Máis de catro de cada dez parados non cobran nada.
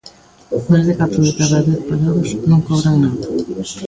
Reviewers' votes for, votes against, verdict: 0, 2, rejected